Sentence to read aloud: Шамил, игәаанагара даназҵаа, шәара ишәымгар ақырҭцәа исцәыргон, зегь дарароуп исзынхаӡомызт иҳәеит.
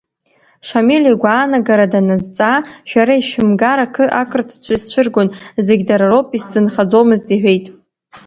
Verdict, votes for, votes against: rejected, 0, 2